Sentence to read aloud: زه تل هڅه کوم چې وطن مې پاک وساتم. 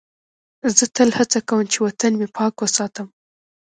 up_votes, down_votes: 0, 2